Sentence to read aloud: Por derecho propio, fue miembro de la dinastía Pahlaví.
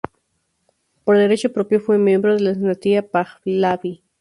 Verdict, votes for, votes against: rejected, 0, 2